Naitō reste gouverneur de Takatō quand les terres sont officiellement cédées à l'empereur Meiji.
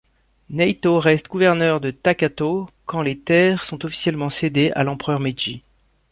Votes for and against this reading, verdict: 2, 0, accepted